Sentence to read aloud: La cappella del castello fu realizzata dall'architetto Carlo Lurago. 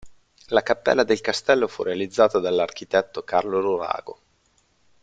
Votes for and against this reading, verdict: 2, 1, accepted